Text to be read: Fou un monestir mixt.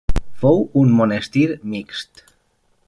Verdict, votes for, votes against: accepted, 3, 1